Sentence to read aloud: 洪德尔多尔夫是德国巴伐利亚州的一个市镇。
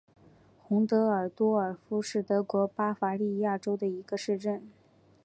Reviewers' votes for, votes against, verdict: 2, 0, accepted